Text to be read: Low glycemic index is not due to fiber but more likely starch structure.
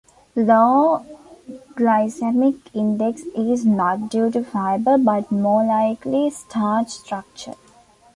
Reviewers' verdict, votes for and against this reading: accepted, 3, 0